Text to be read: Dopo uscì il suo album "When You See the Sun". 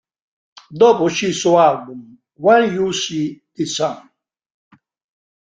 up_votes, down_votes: 1, 2